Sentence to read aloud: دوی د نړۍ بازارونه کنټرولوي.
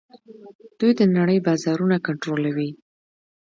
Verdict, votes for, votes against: accepted, 2, 0